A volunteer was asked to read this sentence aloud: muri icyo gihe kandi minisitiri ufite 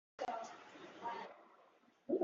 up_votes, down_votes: 1, 2